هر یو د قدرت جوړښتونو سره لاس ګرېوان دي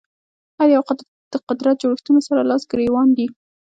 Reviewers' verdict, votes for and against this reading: accepted, 2, 1